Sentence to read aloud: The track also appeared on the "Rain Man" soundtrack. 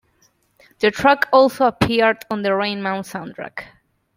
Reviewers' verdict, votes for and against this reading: accepted, 2, 0